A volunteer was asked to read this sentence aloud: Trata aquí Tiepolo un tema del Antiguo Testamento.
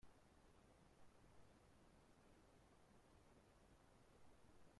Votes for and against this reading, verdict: 0, 2, rejected